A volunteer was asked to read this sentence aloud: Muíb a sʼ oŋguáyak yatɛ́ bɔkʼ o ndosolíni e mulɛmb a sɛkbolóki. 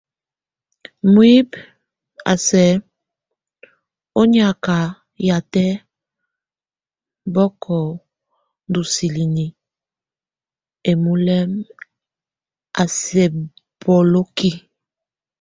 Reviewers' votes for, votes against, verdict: 0, 2, rejected